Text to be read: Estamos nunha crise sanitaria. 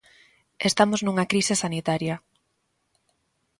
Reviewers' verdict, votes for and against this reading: accepted, 2, 0